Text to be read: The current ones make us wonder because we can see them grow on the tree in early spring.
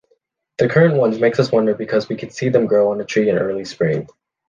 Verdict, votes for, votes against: rejected, 0, 2